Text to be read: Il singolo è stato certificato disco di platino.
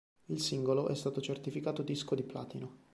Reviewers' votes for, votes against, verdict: 2, 0, accepted